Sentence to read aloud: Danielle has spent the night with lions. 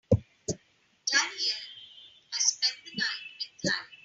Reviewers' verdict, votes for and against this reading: rejected, 2, 9